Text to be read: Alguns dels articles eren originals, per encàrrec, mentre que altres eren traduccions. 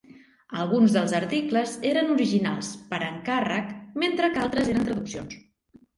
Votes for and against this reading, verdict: 1, 2, rejected